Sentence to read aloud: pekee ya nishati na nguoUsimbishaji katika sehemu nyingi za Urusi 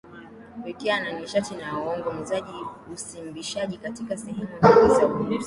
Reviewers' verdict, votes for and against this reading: rejected, 2, 7